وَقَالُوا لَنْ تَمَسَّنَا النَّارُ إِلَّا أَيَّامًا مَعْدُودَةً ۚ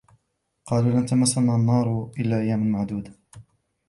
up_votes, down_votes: 2, 0